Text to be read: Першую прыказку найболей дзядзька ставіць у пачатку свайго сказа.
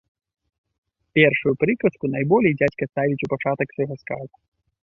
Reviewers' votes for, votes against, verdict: 1, 2, rejected